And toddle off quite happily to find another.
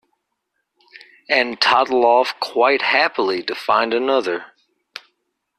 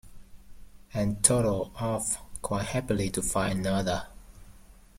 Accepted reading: first